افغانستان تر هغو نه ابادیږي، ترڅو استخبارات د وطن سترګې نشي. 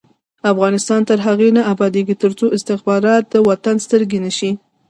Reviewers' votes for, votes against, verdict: 1, 2, rejected